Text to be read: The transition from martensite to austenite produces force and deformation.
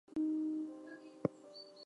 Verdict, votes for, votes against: rejected, 0, 2